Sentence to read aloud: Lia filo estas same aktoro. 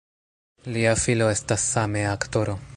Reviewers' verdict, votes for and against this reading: rejected, 1, 2